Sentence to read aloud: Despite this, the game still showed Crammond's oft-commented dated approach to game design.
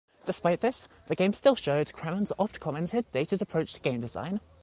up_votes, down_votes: 2, 0